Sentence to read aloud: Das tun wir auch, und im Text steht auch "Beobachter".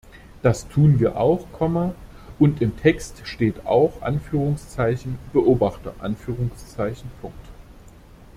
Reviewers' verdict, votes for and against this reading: accepted, 2, 1